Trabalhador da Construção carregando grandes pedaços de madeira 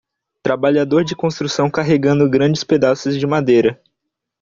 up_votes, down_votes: 0, 2